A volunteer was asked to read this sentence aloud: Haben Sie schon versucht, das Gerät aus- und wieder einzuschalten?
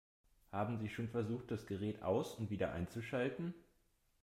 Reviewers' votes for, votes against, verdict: 2, 0, accepted